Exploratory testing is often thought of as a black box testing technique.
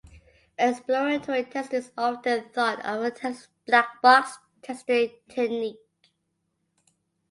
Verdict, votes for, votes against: accepted, 2, 0